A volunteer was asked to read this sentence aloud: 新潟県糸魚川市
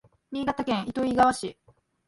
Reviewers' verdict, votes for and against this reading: accepted, 2, 0